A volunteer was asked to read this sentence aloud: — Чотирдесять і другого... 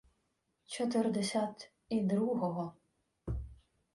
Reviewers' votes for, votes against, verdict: 2, 0, accepted